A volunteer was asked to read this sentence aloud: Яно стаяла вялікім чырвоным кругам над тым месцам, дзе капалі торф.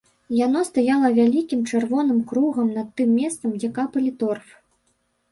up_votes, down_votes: 0, 2